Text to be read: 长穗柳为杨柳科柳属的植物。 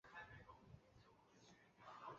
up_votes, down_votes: 1, 2